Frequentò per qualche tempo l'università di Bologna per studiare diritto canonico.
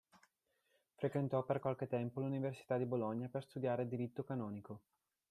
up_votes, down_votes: 2, 0